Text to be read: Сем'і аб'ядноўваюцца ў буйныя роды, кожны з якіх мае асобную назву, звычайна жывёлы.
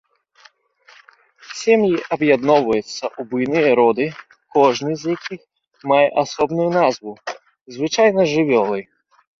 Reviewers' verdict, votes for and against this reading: accepted, 2, 0